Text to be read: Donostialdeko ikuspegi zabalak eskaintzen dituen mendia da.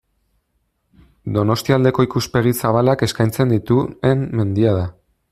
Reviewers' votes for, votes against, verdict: 0, 2, rejected